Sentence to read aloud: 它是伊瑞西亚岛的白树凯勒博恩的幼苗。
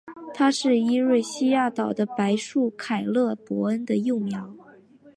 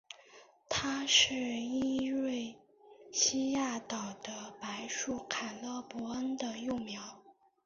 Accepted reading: first